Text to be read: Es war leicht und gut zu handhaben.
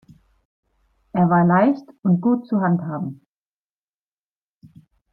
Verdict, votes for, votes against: rejected, 0, 2